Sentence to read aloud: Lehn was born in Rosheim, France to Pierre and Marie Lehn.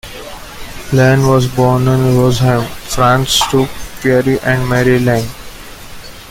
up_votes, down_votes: 0, 2